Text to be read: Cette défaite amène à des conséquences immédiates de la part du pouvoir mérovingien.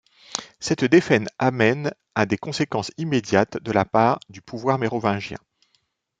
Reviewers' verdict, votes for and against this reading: rejected, 0, 2